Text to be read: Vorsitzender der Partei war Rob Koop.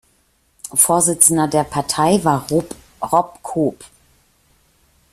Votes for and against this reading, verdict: 0, 2, rejected